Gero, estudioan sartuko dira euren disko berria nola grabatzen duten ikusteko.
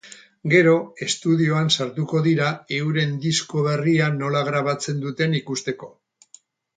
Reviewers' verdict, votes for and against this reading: accepted, 4, 0